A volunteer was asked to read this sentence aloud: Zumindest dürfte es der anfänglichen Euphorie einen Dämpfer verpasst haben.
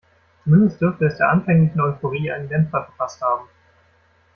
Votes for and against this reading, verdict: 1, 2, rejected